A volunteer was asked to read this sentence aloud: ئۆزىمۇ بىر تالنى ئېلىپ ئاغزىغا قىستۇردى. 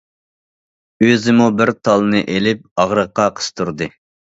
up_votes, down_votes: 0, 2